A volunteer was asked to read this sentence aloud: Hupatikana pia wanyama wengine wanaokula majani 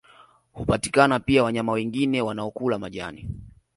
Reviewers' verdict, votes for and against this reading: accepted, 4, 0